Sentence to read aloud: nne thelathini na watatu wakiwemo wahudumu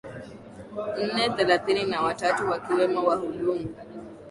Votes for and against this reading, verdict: 2, 0, accepted